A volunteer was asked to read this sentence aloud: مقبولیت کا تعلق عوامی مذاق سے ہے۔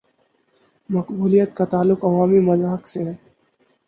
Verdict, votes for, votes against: accepted, 4, 0